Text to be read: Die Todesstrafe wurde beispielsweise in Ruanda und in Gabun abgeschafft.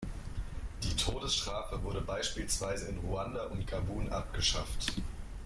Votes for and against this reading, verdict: 0, 2, rejected